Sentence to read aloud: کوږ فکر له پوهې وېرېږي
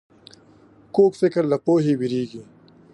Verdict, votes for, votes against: accepted, 5, 0